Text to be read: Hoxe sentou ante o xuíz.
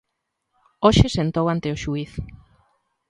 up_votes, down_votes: 2, 0